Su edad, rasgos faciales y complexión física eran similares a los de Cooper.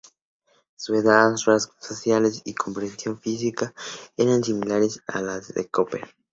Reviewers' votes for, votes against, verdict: 0, 2, rejected